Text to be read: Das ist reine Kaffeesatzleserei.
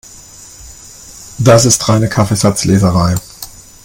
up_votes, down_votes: 2, 0